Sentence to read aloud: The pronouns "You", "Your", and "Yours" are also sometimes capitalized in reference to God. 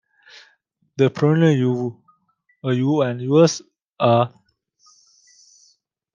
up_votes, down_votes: 0, 2